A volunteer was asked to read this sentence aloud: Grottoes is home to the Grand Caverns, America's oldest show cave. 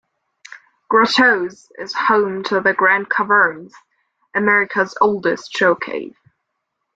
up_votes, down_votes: 2, 1